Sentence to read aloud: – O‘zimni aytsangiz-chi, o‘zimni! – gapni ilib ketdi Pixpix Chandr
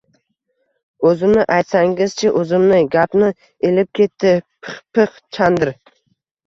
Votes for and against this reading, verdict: 2, 1, accepted